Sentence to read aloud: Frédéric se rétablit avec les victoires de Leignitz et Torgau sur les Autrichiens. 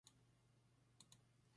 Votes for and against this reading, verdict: 0, 2, rejected